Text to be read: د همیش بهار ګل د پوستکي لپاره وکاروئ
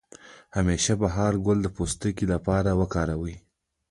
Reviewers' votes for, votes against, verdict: 0, 2, rejected